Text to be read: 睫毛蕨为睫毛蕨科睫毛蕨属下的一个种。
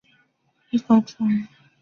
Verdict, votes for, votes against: rejected, 0, 2